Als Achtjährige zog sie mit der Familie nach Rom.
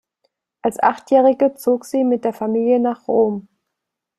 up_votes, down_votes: 2, 0